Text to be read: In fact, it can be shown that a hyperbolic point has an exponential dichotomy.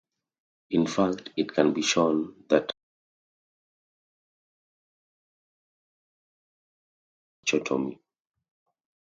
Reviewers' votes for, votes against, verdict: 0, 2, rejected